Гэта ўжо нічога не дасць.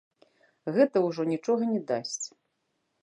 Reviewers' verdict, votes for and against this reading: rejected, 1, 2